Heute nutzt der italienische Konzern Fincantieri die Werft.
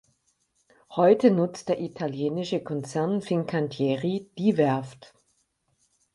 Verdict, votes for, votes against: accepted, 4, 0